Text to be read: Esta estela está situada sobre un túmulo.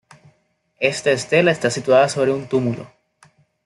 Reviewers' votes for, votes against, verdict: 2, 0, accepted